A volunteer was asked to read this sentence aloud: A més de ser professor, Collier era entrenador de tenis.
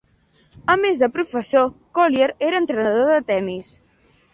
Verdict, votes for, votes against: rejected, 0, 2